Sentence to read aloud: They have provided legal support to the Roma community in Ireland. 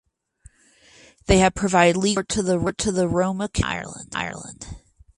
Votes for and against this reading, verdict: 0, 4, rejected